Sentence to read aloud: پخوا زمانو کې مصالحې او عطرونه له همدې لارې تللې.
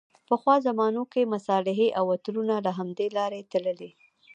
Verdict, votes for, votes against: accepted, 2, 0